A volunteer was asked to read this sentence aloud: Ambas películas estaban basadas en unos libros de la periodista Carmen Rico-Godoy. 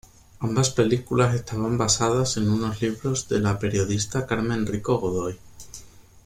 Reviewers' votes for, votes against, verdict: 2, 0, accepted